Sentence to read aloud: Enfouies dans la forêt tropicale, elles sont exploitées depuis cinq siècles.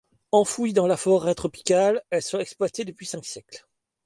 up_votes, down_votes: 2, 0